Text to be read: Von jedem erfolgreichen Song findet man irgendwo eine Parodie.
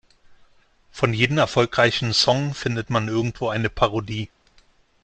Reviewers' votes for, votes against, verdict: 2, 0, accepted